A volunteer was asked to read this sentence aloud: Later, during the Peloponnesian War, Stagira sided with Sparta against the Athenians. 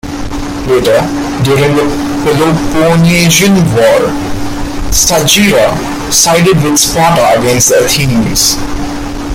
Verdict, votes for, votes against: rejected, 1, 2